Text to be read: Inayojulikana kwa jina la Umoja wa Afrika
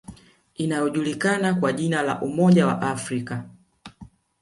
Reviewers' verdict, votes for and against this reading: accepted, 2, 0